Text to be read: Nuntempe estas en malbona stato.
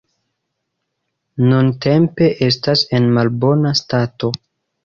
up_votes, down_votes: 2, 0